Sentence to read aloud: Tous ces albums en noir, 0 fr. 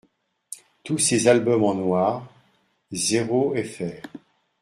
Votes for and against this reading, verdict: 0, 2, rejected